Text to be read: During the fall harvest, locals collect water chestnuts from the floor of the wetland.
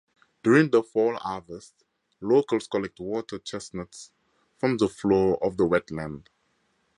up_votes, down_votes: 2, 0